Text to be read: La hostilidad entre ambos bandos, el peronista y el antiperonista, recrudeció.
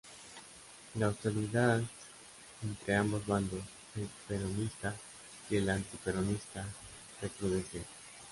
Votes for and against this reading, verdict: 0, 2, rejected